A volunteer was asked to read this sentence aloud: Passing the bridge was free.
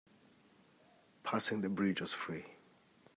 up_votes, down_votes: 1, 2